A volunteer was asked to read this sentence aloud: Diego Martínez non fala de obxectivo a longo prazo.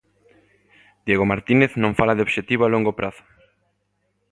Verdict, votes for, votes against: accepted, 2, 0